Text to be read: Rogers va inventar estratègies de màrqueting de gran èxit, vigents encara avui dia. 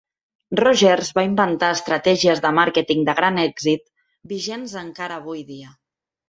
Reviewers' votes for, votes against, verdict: 5, 0, accepted